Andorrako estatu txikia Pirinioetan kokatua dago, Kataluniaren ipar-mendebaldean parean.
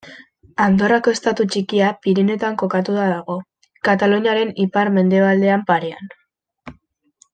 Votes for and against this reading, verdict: 2, 0, accepted